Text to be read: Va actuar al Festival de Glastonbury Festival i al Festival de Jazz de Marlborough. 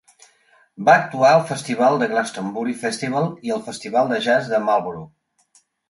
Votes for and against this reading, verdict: 3, 0, accepted